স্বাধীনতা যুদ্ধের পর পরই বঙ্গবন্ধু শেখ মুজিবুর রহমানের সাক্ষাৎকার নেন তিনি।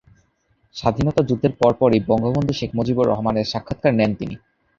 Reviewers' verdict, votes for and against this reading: accepted, 2, 0